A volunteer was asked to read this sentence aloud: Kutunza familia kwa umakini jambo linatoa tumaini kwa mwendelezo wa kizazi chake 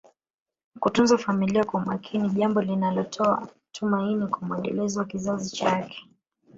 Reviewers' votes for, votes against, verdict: 4, 0, accepted